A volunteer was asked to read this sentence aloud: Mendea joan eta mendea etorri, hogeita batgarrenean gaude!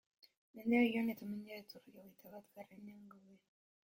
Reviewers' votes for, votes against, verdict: 0, 2, rejected